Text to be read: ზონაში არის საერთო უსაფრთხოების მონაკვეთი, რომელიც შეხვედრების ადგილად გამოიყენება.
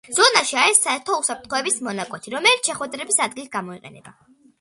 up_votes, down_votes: 2, 1